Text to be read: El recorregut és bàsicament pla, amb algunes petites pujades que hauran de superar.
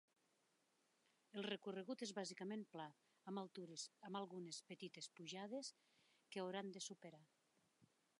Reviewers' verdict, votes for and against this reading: rejected, 0, 2